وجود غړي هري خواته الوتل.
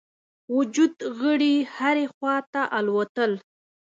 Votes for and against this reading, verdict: 2, 1, accepted